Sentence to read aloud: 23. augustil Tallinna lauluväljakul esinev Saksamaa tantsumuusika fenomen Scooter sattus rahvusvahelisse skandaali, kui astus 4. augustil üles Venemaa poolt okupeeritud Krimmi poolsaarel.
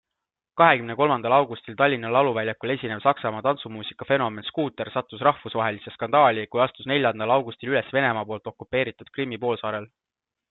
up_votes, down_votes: 0, 2